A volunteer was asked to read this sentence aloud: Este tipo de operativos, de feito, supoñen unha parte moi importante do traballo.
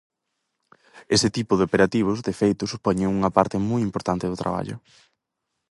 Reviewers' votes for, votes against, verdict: 0, 4, rejected